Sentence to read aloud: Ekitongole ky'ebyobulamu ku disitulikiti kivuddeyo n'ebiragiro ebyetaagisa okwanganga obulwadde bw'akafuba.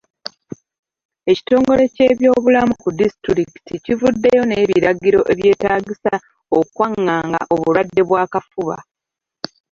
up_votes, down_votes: 1, 2